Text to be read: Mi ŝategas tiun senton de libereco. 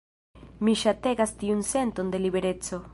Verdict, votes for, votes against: rejected, 1, 2